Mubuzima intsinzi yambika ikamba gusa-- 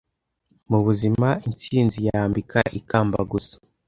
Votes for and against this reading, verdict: 2, 0, accepted